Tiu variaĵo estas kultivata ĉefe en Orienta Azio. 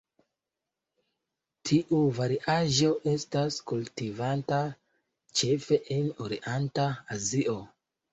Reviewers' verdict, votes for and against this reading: rejected, 1, 2